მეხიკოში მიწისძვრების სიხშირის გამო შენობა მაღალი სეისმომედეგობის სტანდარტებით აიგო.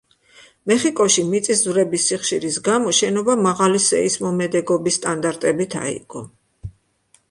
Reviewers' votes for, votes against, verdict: 2, 0, accepted